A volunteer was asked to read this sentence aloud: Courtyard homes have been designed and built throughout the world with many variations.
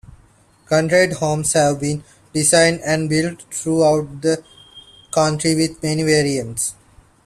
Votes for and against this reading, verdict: 0, 2, rejected